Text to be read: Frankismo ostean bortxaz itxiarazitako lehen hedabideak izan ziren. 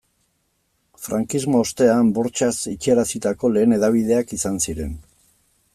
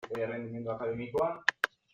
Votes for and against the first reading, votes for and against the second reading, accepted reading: 2, 0, 0, 2, first